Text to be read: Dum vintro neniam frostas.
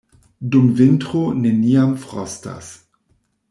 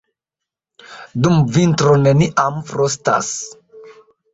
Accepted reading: first